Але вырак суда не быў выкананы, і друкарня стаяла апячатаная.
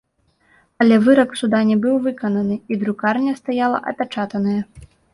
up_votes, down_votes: 2, 0